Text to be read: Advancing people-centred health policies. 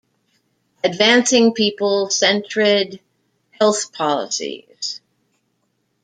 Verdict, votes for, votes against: rejected, 0, 2